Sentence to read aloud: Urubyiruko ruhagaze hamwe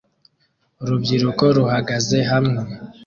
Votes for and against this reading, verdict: 2, 0, accepted